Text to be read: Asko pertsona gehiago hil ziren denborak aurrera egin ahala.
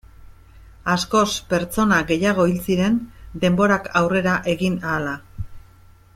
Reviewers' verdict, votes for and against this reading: rejected, 0, 2